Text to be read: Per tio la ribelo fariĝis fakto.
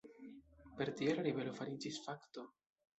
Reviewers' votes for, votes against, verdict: 1, 2, rejected